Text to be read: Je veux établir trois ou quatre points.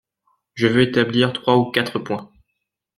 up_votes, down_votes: 2, 0